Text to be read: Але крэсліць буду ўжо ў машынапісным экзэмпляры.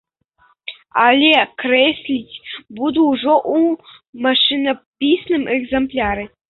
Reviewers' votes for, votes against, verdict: 3, 0, accepted